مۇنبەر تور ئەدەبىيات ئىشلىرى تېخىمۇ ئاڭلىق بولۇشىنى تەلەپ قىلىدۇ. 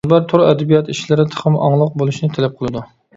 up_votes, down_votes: 2, 0